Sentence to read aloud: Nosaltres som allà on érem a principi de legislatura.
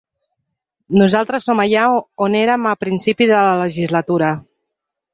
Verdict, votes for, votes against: rejected, 1, 2